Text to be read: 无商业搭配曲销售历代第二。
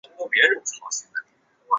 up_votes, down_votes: 0, 5